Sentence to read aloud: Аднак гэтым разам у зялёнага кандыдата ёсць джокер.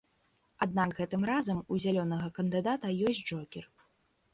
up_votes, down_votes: 2, 0